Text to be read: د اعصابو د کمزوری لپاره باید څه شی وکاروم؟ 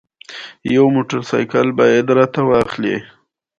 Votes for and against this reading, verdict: 1, 2, rejected